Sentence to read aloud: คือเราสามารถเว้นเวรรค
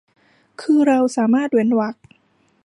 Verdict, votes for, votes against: accepted, 2, 0